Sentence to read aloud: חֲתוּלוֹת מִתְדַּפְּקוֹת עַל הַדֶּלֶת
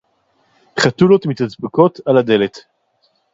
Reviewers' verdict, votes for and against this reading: rejected, 2, 2